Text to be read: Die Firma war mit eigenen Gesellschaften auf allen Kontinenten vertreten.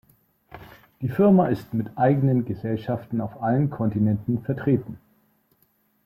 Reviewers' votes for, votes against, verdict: 0, 2, rejected